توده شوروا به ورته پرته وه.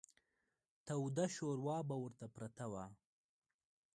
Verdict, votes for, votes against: accepted, 2, 1